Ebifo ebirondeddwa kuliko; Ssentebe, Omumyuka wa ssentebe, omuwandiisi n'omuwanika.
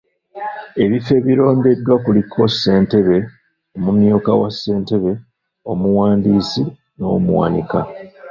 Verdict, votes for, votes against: rejected, 0, 2